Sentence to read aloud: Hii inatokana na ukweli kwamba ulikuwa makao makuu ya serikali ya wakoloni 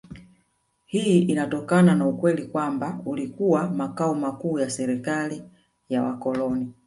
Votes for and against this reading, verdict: 1, 2, rejected